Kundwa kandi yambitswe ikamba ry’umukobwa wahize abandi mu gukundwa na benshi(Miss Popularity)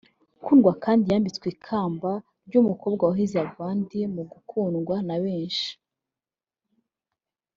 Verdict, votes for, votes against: rejected, 1, 2